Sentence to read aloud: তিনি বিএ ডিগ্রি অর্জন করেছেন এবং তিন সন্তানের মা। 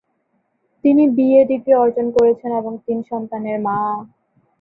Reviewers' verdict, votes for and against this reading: accepted, 13, 2